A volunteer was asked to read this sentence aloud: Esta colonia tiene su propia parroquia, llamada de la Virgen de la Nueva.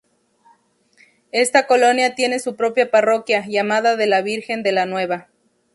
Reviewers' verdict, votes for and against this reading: rejected, 2, 2